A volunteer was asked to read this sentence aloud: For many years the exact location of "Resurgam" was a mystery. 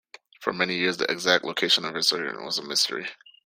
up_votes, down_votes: 0, 2